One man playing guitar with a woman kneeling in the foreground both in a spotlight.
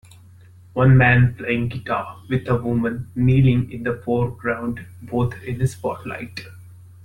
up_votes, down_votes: 1, 2